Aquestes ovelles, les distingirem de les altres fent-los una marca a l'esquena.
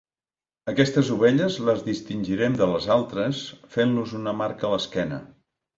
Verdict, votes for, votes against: accepted, 2, 0